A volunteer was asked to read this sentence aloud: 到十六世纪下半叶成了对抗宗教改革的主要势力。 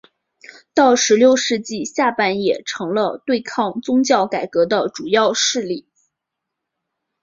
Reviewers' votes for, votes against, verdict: 2, 0, accepted